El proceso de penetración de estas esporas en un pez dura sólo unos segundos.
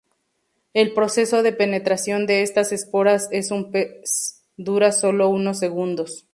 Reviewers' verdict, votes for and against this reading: rejected, 0, 2